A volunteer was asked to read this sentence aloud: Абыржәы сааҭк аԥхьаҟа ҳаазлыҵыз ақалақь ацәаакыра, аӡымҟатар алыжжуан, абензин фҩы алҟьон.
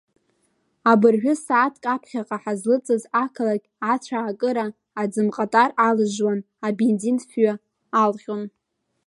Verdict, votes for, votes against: rejected, 1, 2